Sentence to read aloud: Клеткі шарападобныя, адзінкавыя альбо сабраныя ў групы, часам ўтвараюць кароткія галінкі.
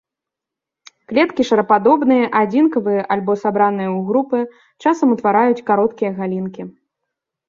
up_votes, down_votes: 3, 0